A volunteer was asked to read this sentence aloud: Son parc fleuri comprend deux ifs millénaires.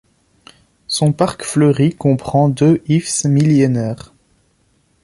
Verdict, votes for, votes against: rejected, 1, 2